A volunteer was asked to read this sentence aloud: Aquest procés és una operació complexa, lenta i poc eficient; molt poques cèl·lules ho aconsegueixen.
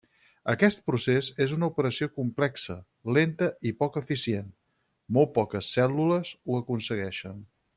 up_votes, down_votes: 2, 4